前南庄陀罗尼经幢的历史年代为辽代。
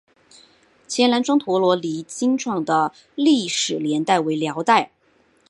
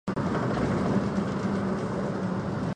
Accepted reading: first